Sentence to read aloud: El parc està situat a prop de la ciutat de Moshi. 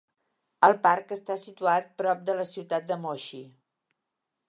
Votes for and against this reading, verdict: 1, 2, rejected